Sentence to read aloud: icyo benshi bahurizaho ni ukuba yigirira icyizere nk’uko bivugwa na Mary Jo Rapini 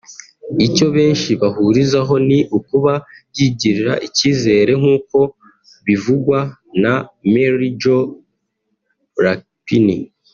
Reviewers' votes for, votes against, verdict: 0, 2, rejected